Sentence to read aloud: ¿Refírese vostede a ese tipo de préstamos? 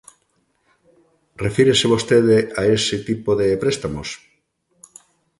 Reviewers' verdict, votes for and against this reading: accepted, 2, 0